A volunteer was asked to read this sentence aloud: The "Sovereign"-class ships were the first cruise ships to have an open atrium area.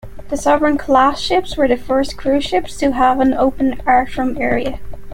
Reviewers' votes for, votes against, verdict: 1, 2, rejected